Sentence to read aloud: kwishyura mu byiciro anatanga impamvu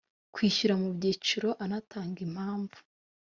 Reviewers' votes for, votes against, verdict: 2, 0, accepted